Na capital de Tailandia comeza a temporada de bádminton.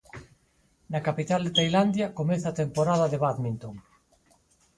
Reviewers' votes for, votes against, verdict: 4, 0, accepted